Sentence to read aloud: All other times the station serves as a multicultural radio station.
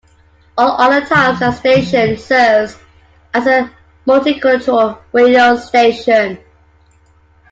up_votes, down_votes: 2, 0